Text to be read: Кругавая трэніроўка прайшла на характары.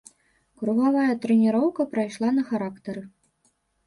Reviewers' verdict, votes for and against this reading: accepted, 3, 0